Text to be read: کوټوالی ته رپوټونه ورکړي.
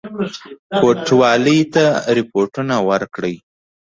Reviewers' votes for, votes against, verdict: 2, 0, accepted